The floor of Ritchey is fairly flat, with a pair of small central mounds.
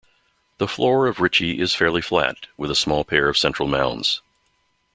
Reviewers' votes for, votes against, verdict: 0, 2, rejected